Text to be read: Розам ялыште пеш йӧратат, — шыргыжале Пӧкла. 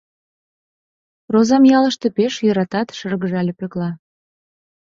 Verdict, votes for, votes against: accepted, 2, 0